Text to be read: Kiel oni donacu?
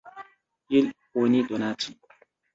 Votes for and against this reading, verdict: 1, 2, rejected